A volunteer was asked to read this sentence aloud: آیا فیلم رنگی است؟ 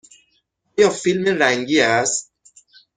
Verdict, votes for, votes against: rejected, 3, 6